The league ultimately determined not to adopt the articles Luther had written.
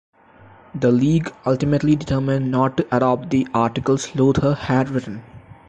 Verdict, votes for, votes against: rejected, 0, 2